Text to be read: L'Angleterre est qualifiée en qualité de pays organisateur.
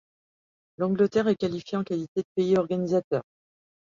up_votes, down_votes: 2, 0